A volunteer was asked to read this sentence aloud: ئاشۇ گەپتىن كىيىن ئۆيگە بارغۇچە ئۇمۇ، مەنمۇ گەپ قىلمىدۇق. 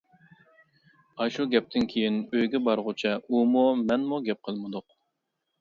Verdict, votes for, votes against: accepted, 2, 0